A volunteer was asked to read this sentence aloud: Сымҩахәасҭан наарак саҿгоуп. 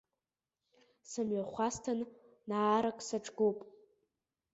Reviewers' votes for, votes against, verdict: 2, 0, accepted